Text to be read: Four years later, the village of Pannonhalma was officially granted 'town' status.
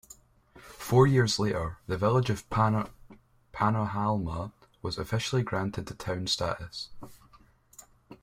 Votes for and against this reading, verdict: 0, 2, rejected